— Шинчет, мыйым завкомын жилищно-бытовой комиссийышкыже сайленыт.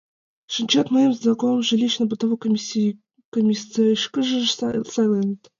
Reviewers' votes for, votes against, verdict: 1, 2, rejected